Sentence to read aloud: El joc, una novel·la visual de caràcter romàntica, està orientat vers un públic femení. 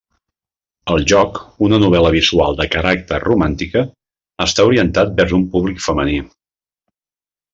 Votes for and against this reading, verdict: 0, 2, rejected